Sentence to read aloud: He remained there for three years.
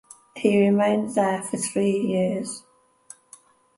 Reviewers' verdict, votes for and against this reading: accepted, 2, 0